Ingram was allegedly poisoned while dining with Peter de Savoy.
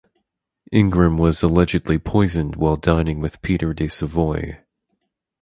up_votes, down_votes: 4, 0